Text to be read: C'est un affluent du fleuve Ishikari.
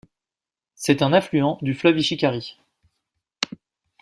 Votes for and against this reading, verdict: 2, 0, accepted